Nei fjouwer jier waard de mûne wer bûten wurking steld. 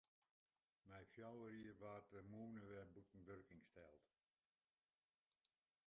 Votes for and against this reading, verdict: 0, 2, rejected